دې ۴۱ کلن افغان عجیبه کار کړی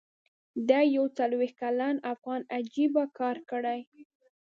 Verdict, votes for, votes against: rejected, 0, 2